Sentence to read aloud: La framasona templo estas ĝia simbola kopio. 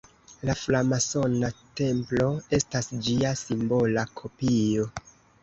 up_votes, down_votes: 2, 1